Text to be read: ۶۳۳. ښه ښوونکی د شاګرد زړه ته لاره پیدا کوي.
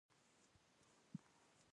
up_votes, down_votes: 0, 2